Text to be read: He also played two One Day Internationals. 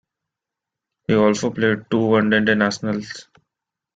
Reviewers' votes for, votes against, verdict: 0, 2, rejected